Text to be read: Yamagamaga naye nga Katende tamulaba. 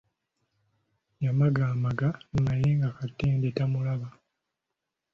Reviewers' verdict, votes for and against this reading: accepted, 2, 0